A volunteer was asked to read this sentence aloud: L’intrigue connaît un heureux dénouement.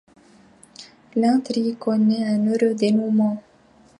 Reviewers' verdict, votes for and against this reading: accepted, 2, 0